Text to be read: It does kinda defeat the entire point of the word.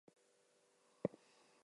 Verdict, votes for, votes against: rejected, 0, 2